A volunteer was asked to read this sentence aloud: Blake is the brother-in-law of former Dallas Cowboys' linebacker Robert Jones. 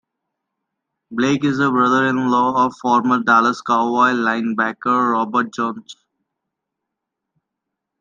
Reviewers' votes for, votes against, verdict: 0, 2, rejected